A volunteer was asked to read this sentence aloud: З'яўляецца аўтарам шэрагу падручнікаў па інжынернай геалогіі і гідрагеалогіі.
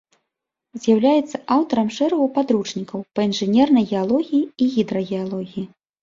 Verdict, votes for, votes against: accepted, 2, 0